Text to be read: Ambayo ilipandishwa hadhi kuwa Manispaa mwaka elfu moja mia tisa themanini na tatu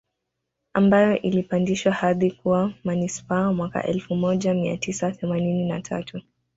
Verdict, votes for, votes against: accepted, 2, 0